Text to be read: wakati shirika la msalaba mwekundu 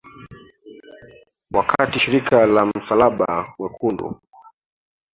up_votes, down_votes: 1, 2